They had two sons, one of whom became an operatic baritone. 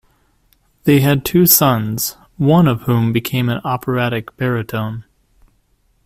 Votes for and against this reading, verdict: 2, 0, accepted